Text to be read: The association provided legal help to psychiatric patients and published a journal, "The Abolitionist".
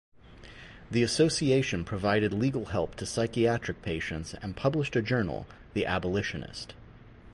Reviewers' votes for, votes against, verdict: 4, 0, accepted